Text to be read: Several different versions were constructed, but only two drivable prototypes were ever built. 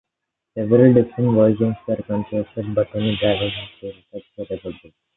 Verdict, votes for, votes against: rejected, 1, 2